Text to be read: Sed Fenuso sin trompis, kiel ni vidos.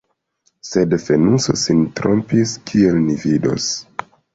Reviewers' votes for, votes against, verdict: 2, 0, accepted